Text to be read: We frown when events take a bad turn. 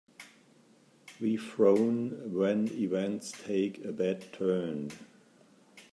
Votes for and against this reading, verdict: 1, 2, rejected